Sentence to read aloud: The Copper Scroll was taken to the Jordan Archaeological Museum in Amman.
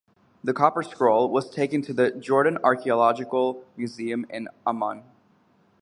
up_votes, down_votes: 2, 0